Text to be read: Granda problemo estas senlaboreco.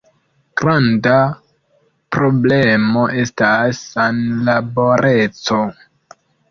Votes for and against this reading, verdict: 1, 2, rejected